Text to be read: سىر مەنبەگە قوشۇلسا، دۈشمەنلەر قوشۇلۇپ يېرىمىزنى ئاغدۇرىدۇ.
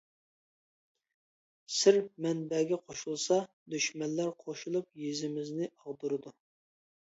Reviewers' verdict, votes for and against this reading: rejected, 1, 2